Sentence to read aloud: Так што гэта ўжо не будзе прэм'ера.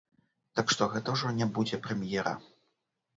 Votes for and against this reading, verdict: 0, 2, rejected